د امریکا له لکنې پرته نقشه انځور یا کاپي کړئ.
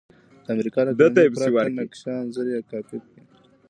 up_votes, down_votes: 1, 2